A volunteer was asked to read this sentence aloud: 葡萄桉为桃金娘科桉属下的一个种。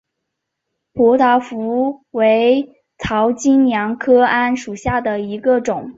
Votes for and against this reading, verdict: 2, 5, rejected